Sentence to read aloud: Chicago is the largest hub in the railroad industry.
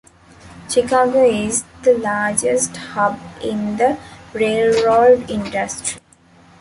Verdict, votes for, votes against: rejected, 1, 2